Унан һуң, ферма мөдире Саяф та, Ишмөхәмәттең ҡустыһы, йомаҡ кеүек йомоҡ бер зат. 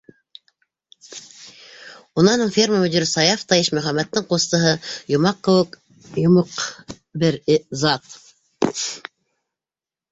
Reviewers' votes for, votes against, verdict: 1, 2, rejected